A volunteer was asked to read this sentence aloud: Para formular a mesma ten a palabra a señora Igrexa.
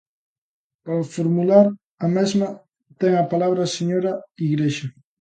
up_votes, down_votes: 2, 0